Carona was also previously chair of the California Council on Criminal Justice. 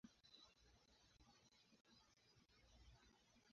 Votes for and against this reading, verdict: 0, 2, rejected